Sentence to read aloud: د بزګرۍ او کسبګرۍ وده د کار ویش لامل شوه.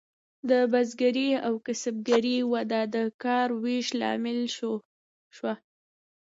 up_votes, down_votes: 2, 0